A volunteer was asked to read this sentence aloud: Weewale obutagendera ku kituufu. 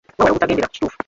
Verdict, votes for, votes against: rejected, 1, 2